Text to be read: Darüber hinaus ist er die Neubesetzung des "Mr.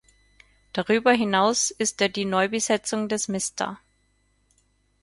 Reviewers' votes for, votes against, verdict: 0, 4, rejected